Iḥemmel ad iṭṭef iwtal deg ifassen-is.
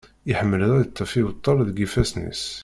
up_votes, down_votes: 0, 2